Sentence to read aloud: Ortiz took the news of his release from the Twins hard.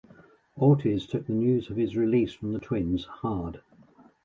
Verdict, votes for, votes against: rejected, 0, 2